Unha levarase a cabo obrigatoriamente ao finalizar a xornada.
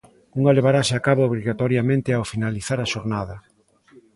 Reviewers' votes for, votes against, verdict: 2, 1, accepted